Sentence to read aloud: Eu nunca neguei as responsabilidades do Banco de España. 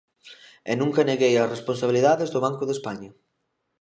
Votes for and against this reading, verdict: 1, 2, rejected